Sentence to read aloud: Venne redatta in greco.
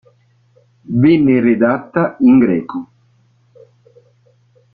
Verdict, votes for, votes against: rejected, 1, 2